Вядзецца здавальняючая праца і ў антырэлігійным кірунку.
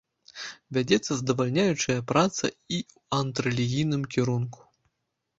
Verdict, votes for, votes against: rejected, 1, 3